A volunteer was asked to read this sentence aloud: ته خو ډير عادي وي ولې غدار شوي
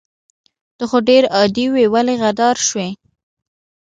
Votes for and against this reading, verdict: 2, 1, accepted